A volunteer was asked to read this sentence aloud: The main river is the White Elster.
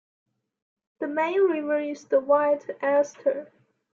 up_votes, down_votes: 2, 1